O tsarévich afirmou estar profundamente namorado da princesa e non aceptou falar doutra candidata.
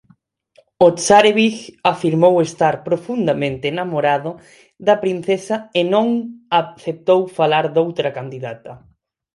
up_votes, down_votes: 2, 4